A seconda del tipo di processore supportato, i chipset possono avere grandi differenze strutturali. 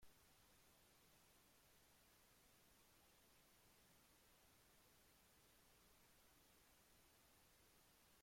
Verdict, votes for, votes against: rejected, 0, 2